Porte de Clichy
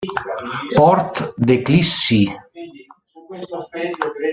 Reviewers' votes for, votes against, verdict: 0, 2, rejected